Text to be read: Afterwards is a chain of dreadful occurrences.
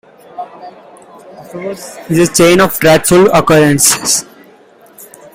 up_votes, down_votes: 0, 2